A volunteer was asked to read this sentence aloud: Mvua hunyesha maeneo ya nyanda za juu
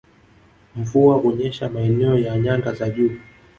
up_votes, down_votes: 2, 0